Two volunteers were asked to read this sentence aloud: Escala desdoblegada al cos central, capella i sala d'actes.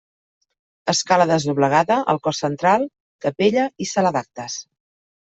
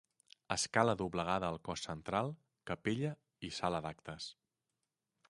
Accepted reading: first